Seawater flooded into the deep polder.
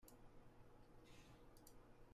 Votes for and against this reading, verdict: 0, 2, rejected